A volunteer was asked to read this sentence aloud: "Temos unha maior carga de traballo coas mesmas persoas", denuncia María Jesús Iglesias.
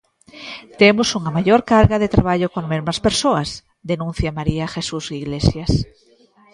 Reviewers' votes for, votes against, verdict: 0, 2, rejected